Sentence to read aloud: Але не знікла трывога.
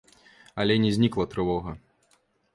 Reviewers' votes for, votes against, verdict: 1, 2, rejected